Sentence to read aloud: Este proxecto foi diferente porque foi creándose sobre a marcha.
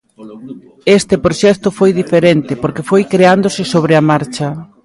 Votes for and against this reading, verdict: 1, 2, rejected